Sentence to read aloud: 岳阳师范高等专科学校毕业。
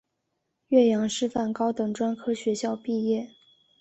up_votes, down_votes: 2, 0